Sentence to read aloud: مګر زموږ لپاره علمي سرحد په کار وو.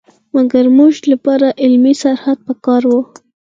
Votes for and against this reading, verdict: 4, 0, accepted